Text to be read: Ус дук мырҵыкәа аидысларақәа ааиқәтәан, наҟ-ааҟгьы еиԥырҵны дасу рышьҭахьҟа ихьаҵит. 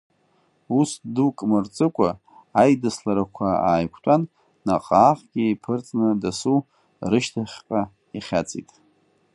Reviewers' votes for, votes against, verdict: 1, 2, rejected